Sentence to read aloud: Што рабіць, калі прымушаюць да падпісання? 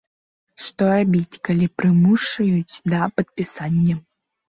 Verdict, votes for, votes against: rejected, 0, 2